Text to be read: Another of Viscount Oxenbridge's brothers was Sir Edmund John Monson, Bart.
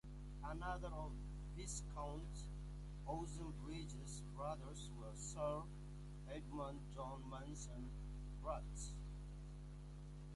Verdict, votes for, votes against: rejected, 1, 2